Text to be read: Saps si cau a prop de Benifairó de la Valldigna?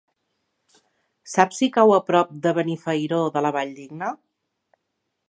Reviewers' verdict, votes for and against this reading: accepted, 3, 0